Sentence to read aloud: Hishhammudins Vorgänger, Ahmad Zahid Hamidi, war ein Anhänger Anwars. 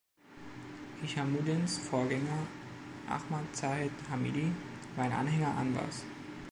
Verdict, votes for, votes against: accepted, 2, 0